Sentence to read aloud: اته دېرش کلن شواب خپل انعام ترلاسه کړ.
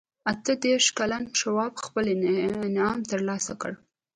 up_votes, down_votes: 1, 2